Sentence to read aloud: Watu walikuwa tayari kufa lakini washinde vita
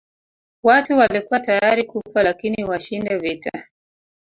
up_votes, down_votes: 2, 3